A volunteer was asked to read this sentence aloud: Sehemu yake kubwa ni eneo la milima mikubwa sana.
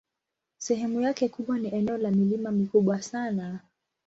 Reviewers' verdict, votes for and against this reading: accepted, 2, 0